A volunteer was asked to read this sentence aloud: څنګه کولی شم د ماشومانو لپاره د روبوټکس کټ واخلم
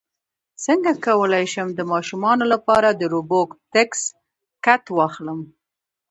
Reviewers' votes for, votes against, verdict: 2, 0, accepted